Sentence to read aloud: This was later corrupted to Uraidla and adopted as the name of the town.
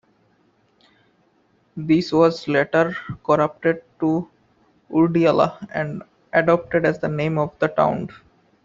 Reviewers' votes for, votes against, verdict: 0, 2, rejected